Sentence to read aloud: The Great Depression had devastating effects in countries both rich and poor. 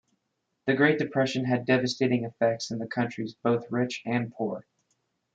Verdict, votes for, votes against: accepted, 2, 0